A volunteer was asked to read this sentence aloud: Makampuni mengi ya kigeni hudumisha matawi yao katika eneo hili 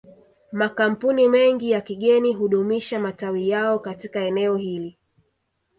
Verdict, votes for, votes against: accepted, 2, 0